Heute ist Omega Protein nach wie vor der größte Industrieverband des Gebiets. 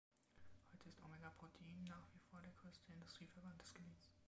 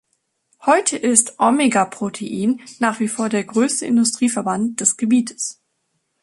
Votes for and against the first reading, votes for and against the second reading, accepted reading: 1, 2, 2, 0, second